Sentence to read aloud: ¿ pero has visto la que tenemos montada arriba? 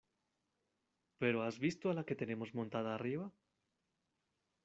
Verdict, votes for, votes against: rejected, 1, 2